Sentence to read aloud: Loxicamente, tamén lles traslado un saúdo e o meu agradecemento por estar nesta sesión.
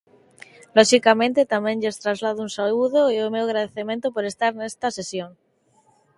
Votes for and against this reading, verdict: 2, 0, accepted